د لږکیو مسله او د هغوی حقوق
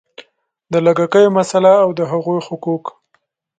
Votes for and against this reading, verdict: 2, 0, accepted